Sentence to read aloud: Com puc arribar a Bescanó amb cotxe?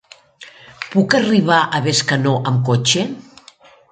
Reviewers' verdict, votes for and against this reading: rejected, 1, 2